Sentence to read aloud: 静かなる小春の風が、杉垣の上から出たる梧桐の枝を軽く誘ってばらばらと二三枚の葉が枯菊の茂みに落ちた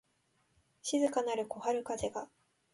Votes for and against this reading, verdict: 0, 2, rejected